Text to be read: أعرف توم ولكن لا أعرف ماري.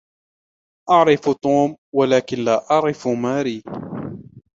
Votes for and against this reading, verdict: 2, 1, accepted